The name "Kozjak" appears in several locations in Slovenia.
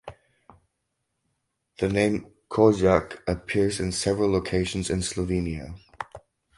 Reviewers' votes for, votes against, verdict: 2, 0, accepted